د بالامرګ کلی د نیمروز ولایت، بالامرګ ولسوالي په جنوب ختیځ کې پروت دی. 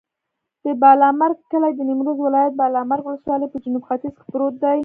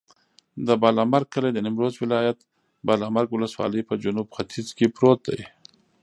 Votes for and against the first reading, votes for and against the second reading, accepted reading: 2, 0, 1, 2, first